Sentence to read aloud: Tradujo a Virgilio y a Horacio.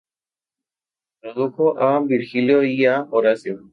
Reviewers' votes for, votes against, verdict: 2, 0, accepted